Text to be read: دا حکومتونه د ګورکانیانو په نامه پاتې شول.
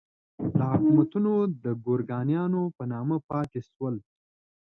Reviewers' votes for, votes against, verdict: 2, 0, accepted